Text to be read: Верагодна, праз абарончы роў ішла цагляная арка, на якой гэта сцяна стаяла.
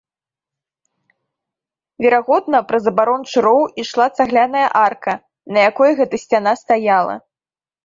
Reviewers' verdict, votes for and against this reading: accepted, 2, 0